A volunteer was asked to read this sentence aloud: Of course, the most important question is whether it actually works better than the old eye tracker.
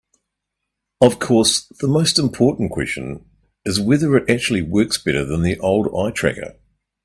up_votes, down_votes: 2, 0